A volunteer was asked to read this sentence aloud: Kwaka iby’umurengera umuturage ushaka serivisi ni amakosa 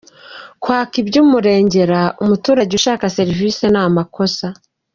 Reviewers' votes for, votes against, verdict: 1, 2, rejected